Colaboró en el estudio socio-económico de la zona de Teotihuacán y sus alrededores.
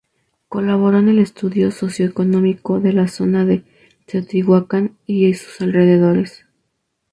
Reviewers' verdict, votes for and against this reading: accepted, 2, 0